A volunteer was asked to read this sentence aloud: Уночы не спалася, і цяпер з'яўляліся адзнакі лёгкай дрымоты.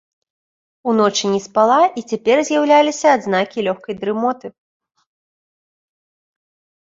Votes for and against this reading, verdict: 0, 2, rejected